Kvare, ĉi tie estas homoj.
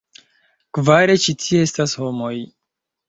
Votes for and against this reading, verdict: 2, 1, accepted